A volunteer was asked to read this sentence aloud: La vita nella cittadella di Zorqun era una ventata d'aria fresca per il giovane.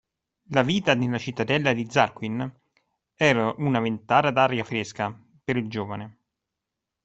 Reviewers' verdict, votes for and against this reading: accepted, 2, 0